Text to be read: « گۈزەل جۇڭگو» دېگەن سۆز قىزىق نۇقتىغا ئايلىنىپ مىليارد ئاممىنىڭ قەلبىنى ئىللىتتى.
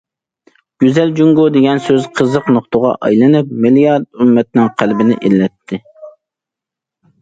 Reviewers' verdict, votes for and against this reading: rejected, 1, 2